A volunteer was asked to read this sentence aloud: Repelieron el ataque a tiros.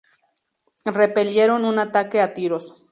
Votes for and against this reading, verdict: 0, 2, rejected